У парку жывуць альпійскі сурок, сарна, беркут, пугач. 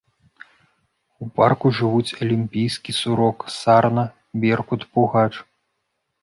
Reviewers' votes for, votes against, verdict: 0, 2, rejected